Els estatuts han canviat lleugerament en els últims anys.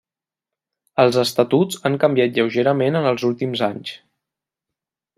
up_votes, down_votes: 1, 2